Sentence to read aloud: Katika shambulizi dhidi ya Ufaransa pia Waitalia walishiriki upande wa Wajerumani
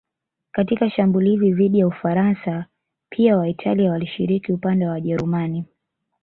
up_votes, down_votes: 1, 2